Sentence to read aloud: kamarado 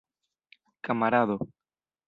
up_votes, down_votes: 2, 0